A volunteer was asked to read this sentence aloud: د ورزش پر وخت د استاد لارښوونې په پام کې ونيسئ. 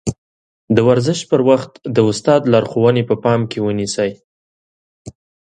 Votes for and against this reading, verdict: 2, 0, accepted